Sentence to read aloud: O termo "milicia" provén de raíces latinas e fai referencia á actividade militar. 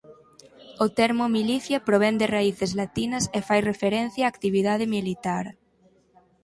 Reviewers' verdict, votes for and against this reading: accepted, 4, 0